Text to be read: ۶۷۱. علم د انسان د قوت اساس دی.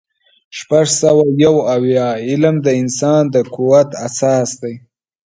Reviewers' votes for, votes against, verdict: 0, 2, rejected